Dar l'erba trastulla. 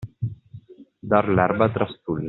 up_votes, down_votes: 2, 0